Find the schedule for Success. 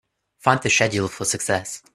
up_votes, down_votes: 1, 2